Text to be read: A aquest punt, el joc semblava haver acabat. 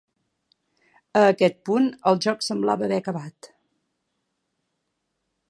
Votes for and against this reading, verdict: 4, 0, accepted